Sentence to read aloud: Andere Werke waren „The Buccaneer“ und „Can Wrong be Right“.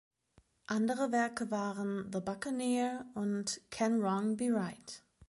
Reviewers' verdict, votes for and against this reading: accepted, 2, 0